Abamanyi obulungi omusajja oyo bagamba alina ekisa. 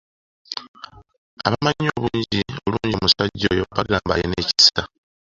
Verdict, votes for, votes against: rejected, 1, 2